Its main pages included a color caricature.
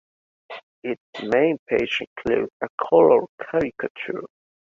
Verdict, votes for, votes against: rejected, 1, 3